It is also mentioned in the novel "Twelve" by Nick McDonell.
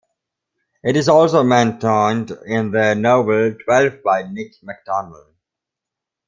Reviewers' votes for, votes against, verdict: 0, 2, rejected